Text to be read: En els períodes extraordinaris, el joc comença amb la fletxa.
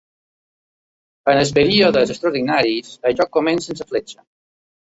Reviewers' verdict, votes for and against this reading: accepted, 2, 1